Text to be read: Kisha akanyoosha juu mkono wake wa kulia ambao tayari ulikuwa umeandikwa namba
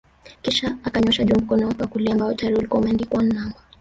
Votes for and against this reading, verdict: 1, 2, rejected